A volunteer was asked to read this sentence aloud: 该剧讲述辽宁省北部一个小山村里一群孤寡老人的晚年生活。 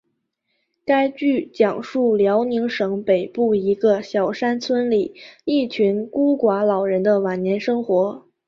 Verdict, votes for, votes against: accepted, 3, 0